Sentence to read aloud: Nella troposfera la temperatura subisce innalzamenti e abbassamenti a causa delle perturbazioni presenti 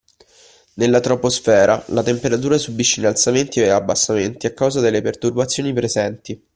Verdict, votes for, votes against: accepted, 2, 0